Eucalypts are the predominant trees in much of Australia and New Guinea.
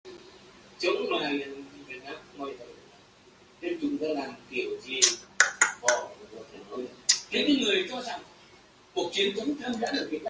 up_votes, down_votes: 0, 2